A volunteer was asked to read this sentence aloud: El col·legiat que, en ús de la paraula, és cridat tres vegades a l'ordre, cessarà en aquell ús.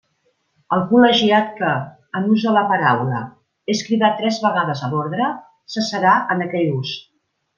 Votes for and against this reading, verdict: 2, 0, accepted